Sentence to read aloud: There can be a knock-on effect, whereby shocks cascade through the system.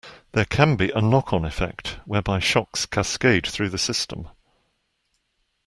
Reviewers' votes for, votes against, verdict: 2, 0, accepted